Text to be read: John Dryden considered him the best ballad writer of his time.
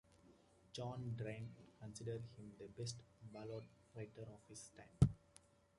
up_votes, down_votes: 2, 0